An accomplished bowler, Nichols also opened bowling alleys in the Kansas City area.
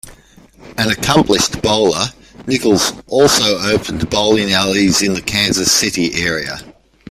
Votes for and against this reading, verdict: 1, 2, rejected